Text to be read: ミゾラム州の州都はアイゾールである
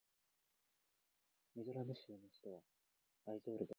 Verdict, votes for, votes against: rejected, 2, 3